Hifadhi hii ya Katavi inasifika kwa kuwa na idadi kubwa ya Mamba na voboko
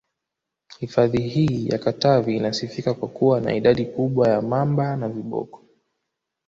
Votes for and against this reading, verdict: 2, 0, accepted